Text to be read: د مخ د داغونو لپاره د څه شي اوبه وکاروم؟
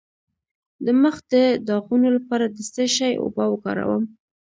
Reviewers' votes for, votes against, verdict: 2, 0, accepted